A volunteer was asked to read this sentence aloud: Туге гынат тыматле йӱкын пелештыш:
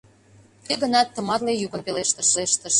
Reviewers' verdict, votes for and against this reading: rejected, 0, 2